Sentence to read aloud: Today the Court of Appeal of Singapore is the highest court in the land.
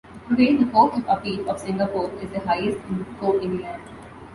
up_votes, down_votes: 2, 1